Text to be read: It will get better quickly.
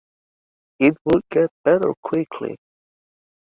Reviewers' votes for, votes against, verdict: 3, 0, accepted